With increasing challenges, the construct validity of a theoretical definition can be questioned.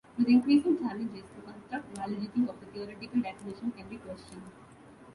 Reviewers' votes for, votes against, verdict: 2, 0, accepted